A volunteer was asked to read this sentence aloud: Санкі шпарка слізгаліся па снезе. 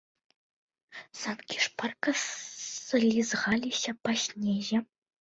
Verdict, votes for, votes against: rejected, 1, 2